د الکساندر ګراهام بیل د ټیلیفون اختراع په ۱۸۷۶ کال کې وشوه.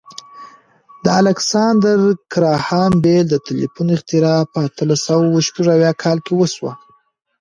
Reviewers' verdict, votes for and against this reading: rejected, 0, 2